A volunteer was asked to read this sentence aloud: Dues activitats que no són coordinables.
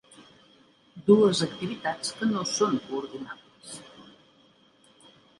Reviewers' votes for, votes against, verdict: 1, 2, rejected